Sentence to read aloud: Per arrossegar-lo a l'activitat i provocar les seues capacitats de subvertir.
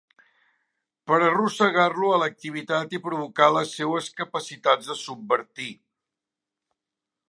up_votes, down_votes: 5, 0